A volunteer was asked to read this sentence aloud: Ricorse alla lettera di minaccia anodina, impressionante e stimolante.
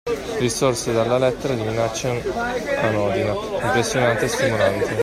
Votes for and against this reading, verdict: 0, 2, rejected